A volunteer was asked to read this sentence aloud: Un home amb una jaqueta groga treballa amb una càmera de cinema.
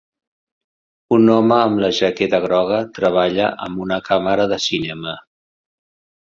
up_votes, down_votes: 2, 3